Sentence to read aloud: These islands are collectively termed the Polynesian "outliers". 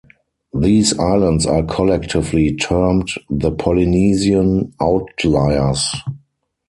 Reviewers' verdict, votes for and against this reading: accepted, 4, 0